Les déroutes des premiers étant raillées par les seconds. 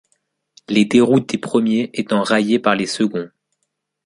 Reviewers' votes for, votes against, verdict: 0, 2, rejected